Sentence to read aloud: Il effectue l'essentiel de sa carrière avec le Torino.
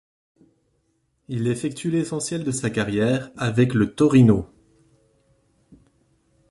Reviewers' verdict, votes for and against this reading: accepted, 2, 0